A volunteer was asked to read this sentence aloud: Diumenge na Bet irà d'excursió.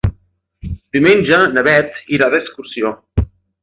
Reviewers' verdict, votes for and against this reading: accepted, 3, 0